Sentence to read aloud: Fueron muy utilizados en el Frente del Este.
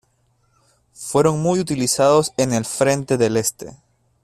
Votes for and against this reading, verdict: 1, 2, rejected